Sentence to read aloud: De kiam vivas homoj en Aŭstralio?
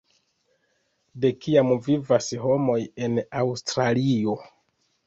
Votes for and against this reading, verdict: 2, 1, accepted